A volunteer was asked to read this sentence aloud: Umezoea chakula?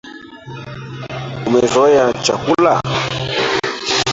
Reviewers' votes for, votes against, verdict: 0, 3, rejected